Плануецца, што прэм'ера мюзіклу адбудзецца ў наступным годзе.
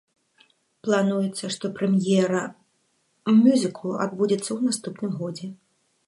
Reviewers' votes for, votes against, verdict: 1, 2, rejected